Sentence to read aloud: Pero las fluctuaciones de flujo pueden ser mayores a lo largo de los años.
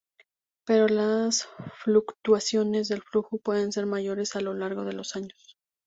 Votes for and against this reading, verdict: 2, 0, accepted